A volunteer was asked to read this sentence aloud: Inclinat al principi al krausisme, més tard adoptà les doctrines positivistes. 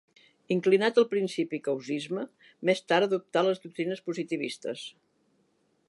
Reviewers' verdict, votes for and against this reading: rejected, 0, 3